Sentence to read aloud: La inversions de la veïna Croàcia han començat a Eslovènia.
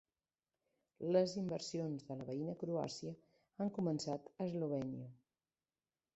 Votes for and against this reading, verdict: 1, 2, rejected